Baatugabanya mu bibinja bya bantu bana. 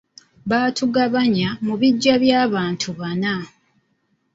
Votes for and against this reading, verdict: 2, 1, accepted